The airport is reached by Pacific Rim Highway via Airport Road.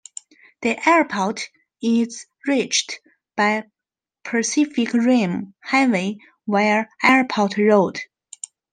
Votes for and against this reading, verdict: 1, 2, rejected